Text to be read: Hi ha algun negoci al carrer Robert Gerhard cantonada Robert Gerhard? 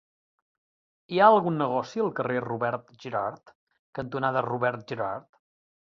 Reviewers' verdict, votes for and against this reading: accepted, 2, 0